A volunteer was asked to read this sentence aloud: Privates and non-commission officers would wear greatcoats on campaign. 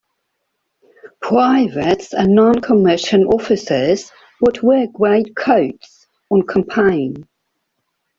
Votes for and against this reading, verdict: 2, 1, accepted